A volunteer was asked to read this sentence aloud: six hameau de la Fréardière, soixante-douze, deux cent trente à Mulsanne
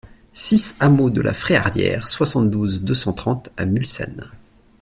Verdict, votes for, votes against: accepted, 2, 0